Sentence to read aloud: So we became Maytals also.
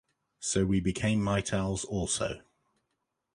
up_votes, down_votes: 2, 0